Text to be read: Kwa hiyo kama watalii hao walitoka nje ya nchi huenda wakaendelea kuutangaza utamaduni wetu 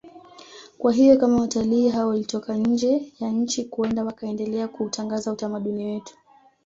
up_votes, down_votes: 1, 2